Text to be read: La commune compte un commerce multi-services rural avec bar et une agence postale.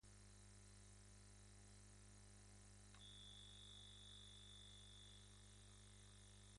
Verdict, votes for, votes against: rejected, 0, 2